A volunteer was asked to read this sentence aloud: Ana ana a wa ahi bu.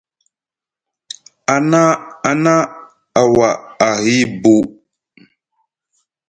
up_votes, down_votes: 0, 2